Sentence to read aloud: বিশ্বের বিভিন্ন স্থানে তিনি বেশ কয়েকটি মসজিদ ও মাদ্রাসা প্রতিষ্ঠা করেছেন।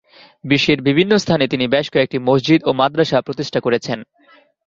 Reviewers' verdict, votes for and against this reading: accepted, 2, 0